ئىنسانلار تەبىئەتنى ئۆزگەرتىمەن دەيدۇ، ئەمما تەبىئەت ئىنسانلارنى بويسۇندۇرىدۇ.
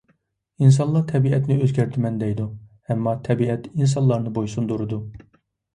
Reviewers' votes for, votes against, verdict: 2, 0, accepted